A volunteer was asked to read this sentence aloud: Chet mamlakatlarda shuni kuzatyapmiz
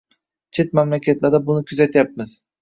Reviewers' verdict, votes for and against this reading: rejected, 1, 2